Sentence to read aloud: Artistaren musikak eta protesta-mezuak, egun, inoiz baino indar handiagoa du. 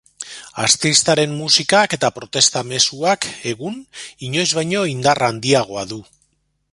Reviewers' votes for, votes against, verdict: 0, 2, rejected